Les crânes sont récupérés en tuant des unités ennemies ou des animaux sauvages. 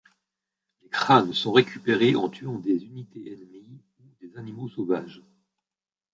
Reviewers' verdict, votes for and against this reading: rejected, 1, 2